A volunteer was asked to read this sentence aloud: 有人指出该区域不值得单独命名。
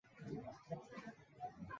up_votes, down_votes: 0, 2